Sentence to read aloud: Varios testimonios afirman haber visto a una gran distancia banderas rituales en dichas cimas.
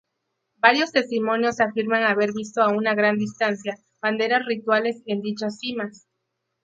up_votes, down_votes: 0, 2